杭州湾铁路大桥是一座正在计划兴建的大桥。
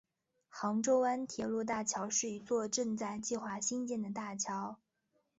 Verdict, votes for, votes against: accepted, 4, 0